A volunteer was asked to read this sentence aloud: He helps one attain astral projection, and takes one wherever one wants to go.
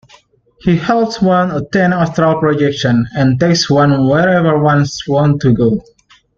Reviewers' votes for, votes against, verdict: 0, 2, rejected